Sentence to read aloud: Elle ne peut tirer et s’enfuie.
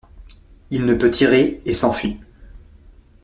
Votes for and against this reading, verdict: 1, 2, rejected